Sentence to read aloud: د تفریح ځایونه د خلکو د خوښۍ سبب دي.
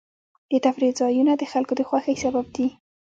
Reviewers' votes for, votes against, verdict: 2, 1, accepted